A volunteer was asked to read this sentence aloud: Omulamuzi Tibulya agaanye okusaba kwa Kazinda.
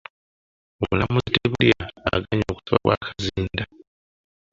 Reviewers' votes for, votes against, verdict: 0, 2, rejected